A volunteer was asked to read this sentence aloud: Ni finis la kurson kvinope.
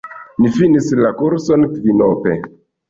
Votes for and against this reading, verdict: 0, 2, rejected